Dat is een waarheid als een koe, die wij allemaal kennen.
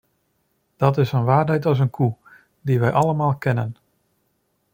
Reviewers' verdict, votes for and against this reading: accepted, 2, 0